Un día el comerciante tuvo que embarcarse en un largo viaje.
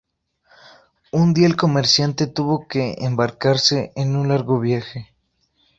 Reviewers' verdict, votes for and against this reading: accepted, 2, 0